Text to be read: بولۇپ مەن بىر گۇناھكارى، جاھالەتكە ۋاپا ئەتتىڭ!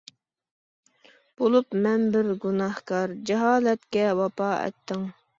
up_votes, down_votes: 1, 2